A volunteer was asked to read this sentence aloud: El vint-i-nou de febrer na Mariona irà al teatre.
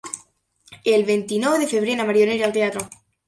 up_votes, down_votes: 3, 0